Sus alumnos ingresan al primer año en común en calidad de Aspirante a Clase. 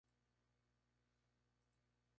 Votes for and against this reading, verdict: 0, 4, rejected